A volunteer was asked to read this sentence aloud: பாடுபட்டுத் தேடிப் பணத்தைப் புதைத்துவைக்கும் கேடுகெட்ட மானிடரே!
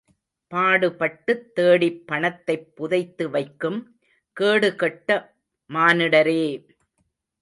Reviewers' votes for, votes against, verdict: 2, 0, accepted